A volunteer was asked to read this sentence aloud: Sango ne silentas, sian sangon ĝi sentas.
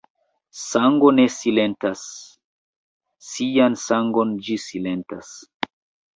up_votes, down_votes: 1, 2